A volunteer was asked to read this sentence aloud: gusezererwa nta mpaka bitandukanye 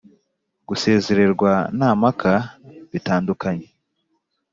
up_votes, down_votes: 3, 0